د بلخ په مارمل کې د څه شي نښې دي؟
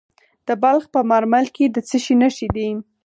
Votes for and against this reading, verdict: 0, 4, rejected